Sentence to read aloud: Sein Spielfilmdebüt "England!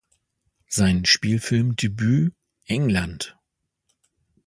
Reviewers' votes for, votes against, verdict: 2, 0, accepted